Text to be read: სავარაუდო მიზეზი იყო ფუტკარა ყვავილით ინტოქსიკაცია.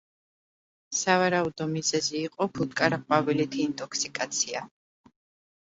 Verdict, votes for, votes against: accepted, 2, 0